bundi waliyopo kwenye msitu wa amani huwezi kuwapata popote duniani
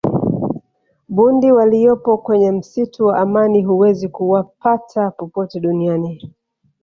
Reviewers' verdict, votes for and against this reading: accepted, 2, 0